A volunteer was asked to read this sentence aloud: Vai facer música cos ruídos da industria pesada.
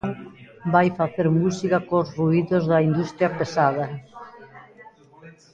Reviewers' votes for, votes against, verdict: 1, 2, rejected